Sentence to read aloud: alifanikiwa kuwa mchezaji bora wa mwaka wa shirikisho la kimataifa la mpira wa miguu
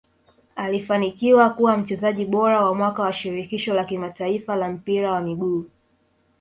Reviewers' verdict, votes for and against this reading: rejected, 1, 2